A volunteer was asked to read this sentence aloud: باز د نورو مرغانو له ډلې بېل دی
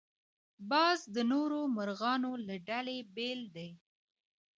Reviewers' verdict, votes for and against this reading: accepted, 2, 1